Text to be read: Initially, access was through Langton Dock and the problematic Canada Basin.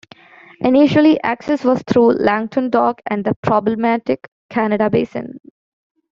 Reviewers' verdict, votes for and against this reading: accepted, 2, 1